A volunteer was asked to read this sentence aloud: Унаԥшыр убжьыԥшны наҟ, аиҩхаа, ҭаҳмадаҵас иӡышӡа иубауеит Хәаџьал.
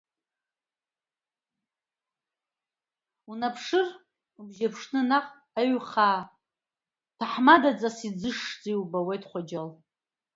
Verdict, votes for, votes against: accepted, 2, 0